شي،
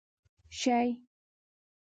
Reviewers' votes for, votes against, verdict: 1, 2, rejected